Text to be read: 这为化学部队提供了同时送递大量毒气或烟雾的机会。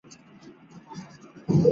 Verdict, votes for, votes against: rejected, 1, 2